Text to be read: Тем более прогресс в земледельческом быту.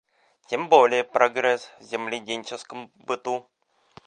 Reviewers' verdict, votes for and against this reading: rejected, 0, 2